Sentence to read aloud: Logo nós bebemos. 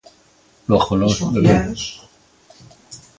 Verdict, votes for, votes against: rejected, 0, 2